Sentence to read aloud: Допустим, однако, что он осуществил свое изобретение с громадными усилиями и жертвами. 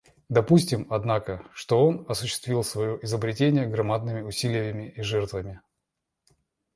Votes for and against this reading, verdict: 1, 2, rejected